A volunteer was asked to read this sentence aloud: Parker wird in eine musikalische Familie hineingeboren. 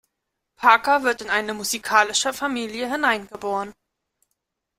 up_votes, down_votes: 2, 0